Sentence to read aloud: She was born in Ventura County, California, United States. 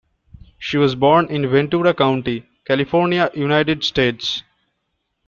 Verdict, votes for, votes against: accepted, 2, 0